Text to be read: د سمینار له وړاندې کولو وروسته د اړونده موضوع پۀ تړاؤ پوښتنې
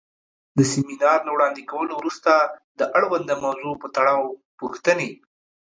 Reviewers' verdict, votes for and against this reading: accepted, 2, 0